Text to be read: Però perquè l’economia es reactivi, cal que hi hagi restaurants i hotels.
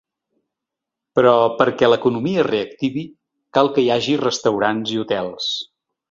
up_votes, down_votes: 2, 0